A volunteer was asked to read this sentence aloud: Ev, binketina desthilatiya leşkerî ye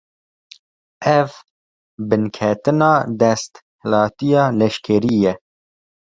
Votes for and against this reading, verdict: 2, 3, rejected